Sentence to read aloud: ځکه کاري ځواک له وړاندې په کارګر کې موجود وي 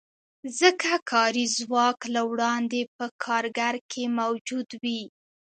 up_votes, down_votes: 2, 0